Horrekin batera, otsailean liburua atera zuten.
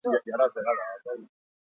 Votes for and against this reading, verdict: 0, 4, rejected